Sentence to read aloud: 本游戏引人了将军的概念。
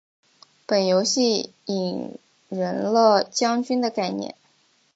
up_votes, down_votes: 2, 0